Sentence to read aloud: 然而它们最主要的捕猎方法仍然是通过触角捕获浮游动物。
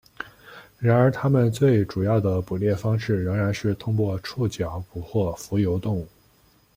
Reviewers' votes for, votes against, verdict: 0, 2, rejected